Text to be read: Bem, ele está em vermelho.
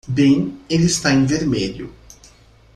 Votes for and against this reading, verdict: 2, 0, accepted